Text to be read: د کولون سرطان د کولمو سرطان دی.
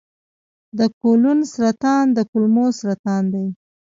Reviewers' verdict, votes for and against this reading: accepted, 2, 0